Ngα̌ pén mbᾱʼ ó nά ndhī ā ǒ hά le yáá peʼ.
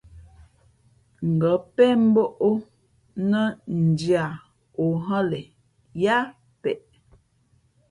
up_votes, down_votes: 2, 0